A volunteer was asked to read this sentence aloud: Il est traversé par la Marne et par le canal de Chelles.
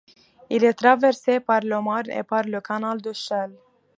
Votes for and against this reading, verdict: 1, 2, rejected